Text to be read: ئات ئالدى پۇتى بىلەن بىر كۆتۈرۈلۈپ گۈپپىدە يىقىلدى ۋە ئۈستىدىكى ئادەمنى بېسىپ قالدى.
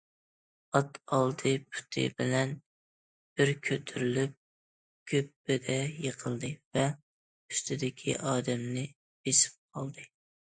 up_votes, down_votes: 2, 0